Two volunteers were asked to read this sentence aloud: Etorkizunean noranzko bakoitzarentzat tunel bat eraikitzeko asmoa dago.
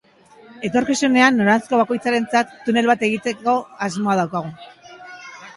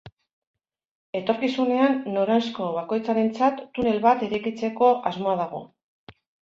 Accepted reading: second